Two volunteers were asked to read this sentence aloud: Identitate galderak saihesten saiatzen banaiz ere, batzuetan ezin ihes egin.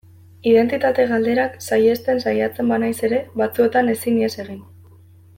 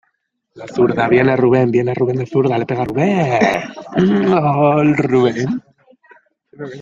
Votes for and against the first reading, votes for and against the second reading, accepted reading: 2, 0, 0, 2, first